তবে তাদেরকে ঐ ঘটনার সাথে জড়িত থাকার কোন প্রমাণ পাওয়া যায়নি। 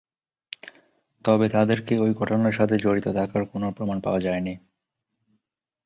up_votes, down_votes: 3, 0